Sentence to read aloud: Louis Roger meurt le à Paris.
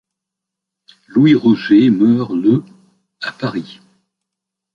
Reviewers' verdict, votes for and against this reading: accepted, 2, 0